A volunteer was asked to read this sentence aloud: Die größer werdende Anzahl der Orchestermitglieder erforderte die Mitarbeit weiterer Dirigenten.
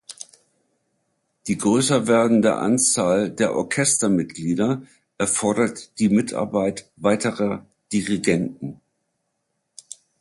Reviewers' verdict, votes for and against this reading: rejected, 1, 2